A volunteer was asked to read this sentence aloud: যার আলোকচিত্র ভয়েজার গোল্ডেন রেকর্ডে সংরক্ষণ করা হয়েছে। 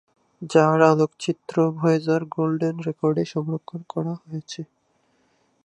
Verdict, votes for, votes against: rejected, 0, 2